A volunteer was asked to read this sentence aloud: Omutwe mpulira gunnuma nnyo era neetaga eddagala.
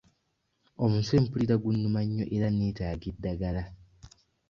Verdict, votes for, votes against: accepted, 2, 1